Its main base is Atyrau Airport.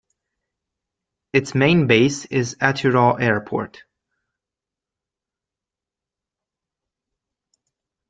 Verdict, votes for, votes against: accepted, 2, 0